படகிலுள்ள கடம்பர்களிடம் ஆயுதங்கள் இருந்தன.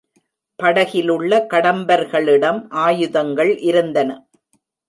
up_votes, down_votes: 2, 0